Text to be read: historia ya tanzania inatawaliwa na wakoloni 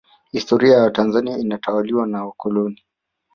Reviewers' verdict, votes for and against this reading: accepted, 2, 0